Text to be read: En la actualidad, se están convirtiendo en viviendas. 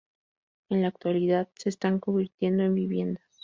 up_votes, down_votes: 0, 2